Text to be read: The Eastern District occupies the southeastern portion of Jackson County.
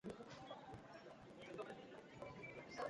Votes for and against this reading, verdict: 0, 2, rejected